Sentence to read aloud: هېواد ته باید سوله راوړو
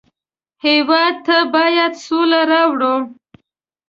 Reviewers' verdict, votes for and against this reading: accepted, 2, 0